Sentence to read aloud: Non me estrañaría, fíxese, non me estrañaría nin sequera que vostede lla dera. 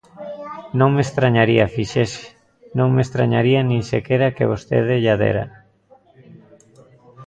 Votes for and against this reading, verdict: 0, 2, rejected